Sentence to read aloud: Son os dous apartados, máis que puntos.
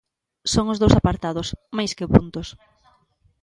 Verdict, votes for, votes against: accepted, 2, 0